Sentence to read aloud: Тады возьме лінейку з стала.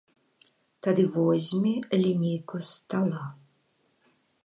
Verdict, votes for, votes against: accepted, 2, 0